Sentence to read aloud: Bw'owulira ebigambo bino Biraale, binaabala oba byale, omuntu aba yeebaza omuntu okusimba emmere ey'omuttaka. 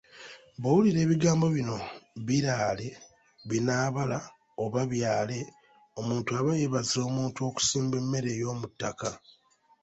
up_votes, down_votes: 3, 1